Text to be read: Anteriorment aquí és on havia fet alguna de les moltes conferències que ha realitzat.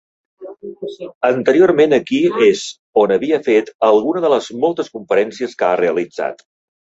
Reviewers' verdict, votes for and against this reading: rejected, 0, 2